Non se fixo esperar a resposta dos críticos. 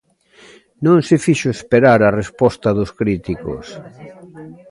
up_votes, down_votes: 2, 0